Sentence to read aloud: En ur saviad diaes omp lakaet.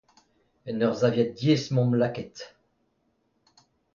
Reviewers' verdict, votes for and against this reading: accepted, 2, 0